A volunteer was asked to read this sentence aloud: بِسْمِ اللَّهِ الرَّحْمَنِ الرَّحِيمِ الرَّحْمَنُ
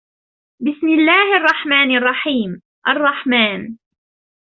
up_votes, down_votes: 1, 2